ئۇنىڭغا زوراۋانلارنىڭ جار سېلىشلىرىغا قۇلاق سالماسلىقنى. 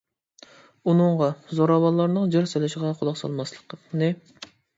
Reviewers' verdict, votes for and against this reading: rejected, 0, 2